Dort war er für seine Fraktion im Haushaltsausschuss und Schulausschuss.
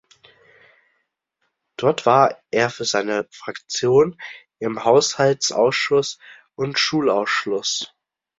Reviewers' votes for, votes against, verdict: 0, 2, rejected